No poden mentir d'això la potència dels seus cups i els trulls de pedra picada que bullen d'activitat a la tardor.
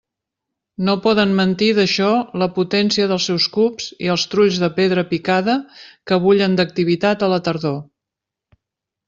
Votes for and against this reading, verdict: 2, 0, accepted